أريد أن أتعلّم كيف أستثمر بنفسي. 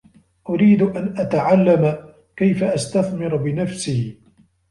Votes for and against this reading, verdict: 2, 0, accepted